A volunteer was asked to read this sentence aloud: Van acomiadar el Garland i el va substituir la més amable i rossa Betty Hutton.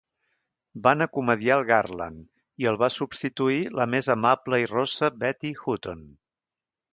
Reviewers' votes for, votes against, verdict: 2, 3, rejected